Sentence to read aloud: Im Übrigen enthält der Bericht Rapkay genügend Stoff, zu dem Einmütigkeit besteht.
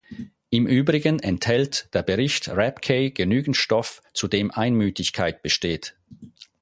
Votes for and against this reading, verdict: 4, 0, accepted